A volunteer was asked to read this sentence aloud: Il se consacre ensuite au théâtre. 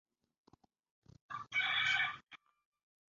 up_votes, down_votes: 1, 2